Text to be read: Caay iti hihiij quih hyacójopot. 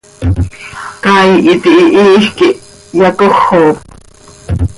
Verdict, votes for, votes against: rejected, 1, 2